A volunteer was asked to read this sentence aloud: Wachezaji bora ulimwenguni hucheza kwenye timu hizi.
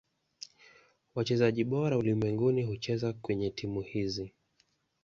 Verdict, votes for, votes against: accepted, 2, 0